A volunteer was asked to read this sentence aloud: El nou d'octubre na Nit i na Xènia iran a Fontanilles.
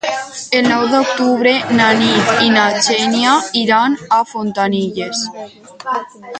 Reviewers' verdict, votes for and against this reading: rejected, 2, 4